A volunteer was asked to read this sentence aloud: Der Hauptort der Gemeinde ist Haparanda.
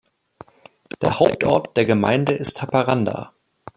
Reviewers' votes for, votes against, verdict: 0, 2, rejected